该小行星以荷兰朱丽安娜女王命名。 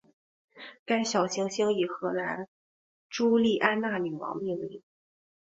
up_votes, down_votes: 2, 0